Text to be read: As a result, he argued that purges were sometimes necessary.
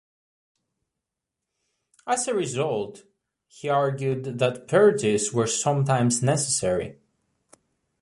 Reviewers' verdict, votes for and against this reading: accepted, 2, 0